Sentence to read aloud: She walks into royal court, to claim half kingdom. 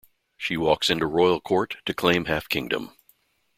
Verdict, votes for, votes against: accepted, 2, 0